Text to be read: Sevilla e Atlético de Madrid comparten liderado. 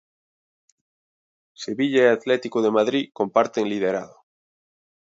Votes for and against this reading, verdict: 2, 0, accepted